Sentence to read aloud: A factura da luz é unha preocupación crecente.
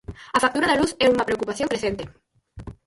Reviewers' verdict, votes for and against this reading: rejected, 0, 4